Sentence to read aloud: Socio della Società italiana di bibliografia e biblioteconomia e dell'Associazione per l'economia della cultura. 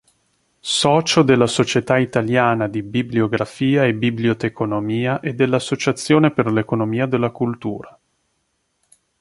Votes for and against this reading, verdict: 3, 0, accepted